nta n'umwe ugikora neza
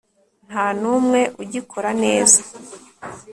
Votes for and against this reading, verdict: 2, 0, accepted